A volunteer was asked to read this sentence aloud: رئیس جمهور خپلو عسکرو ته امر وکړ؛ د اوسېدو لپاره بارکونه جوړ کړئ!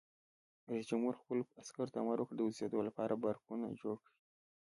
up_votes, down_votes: 1, 2